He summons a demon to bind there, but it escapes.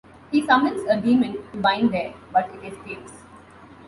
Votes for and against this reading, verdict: 2, 0, accepted